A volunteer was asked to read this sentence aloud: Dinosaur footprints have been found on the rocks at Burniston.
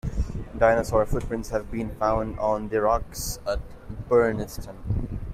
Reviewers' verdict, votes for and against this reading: accepted, 2, 0